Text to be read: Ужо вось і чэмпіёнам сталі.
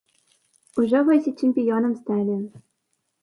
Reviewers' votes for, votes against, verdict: 1, 2, rejected